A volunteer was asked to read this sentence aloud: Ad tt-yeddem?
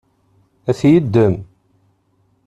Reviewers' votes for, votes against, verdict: 1, 2, rejected